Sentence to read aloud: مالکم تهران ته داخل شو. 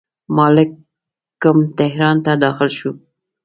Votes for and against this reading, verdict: 2, 0, accepted